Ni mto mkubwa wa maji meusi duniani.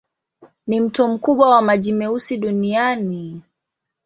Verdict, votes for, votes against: accepted, 2, 0